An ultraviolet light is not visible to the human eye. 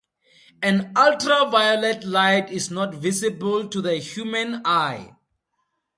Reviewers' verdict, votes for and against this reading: accepted, 2, 0